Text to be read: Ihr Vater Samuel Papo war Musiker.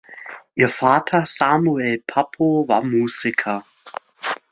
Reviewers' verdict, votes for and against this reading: accepted, 2, 0